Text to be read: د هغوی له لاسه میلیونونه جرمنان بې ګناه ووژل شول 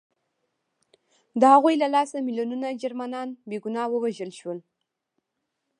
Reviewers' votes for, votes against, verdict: 0, 2, rejected